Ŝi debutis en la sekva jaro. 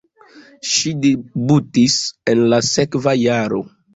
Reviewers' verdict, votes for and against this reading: accepted, 2, 0